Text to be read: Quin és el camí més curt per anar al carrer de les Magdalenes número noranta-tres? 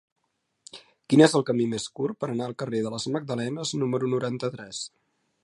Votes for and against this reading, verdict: 4, 0, accepted